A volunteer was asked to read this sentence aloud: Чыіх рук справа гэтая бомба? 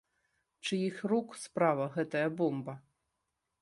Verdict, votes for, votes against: accepted, 2, 0